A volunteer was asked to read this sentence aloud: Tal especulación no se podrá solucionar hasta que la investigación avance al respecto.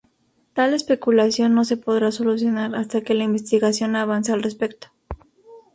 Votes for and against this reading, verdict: 2, 2, rejected